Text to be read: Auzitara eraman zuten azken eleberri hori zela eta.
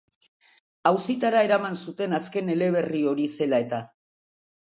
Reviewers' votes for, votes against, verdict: 5, 0, accepted